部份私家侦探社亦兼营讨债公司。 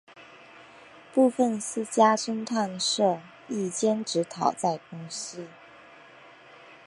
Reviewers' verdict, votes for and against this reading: rejected, 1, 2